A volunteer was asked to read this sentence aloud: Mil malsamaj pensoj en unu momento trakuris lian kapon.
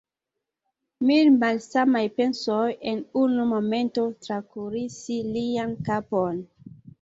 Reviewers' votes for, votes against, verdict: 1, 2, rejected